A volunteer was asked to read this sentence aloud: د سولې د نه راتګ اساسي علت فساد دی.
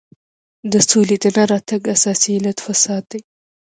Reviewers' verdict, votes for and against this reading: rejected, 1, 2